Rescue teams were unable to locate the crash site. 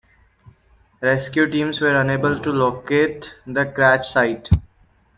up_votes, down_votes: 2, 0